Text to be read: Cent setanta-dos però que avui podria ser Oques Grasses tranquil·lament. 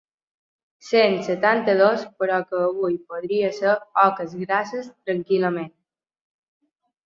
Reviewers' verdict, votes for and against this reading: accepted, 2, 0